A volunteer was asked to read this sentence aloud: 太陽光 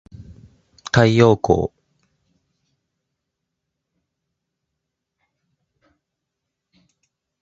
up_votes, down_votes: 1, 2